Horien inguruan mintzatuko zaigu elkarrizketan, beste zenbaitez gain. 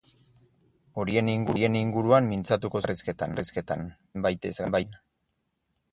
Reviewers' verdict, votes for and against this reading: rejected, 0, 2